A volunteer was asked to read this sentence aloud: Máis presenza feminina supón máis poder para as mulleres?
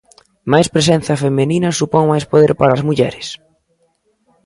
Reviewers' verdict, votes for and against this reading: rejected, 1, 2